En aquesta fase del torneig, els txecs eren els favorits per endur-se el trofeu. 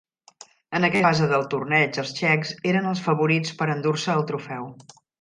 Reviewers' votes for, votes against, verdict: 0, 2, rejected